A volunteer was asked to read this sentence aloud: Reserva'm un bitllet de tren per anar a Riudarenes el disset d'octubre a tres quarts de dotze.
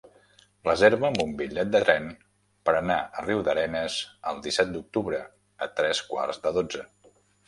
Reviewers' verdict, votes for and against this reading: rejected, 1, 2